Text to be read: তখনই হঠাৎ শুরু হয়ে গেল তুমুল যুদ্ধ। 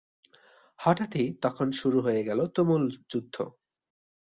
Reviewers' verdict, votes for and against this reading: rejected, 0, 2